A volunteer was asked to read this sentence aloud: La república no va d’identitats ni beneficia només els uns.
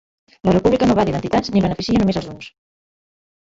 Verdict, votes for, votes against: rejected, 1, 2